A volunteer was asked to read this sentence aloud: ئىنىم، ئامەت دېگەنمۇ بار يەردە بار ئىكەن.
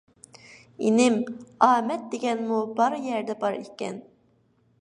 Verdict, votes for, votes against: accepted, 2, 1